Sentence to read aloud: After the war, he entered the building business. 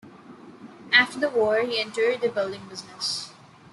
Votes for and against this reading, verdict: 1, 2, rejected